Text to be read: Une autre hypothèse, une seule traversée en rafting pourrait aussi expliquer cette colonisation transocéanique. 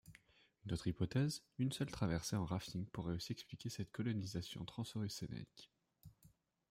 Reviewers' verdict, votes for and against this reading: rejected, 0, 2